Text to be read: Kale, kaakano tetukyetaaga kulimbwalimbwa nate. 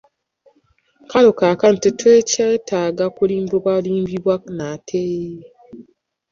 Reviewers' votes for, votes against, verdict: 0, 2, rejected